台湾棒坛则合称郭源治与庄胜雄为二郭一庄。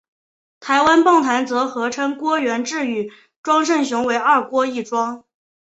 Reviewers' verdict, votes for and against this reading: accepted, 3, 0